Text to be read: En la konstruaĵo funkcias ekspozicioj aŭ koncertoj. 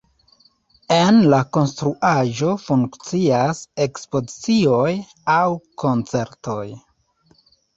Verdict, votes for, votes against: rejected, 1, 2